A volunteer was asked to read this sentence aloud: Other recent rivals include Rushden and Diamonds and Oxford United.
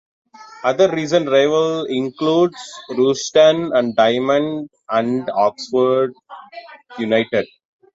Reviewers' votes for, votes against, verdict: 2, 0, accepted